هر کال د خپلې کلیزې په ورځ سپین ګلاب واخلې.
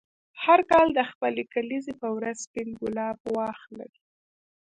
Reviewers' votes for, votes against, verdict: 0, 2, rejected